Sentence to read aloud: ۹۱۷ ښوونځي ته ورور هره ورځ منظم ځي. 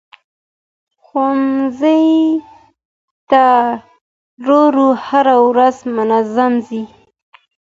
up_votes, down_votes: 0, 2